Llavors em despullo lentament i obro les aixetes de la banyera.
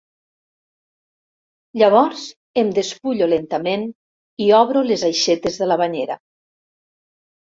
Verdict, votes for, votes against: accepted, 3, 0